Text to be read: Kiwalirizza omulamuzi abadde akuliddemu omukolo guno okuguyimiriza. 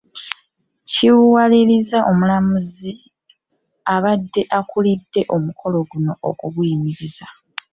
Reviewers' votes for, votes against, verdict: 0, 2, rejected